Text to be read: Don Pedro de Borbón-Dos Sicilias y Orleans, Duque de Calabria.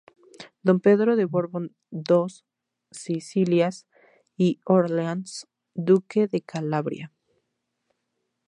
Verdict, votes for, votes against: accepted, 2, 0